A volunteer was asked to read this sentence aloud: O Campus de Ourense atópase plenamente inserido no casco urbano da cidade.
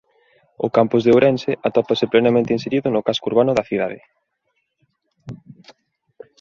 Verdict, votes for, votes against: accepted, 2, 0